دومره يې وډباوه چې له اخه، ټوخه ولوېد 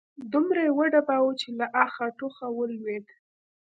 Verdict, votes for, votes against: accepted, 2, 0